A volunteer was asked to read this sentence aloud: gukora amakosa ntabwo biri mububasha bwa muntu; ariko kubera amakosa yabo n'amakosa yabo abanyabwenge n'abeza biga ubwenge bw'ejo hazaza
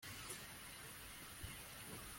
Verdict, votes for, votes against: rejected, 0, 2